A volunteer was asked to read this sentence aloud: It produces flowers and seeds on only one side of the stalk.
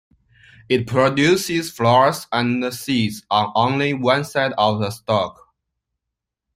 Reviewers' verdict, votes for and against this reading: accepted, 2, 0